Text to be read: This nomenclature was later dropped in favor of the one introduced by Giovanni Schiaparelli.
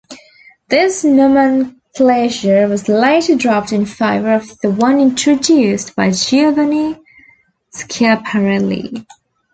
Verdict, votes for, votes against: rejected, 1, 2